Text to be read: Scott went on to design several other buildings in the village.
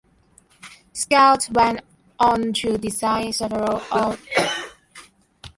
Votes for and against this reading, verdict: 0, 2, rejected